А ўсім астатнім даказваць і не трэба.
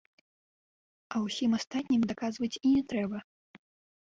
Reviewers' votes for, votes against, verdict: 1, 2, rejected